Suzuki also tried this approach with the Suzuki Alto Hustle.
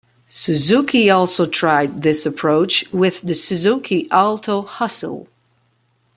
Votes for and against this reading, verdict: 2, 0, accepted